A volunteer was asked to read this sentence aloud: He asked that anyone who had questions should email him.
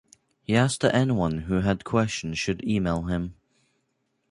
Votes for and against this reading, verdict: 2, 0, accepted